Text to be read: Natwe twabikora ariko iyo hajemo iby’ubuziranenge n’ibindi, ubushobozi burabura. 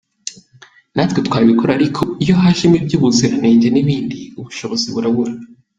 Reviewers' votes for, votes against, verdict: 2, 0, accepted